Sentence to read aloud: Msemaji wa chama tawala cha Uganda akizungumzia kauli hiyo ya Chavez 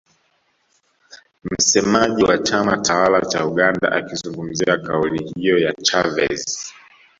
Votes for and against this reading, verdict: 2, 1, accepted